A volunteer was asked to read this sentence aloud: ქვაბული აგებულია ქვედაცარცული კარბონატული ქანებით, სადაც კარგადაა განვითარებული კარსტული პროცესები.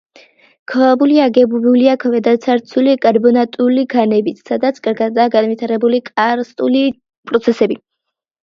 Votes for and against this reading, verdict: 1, 2, rejected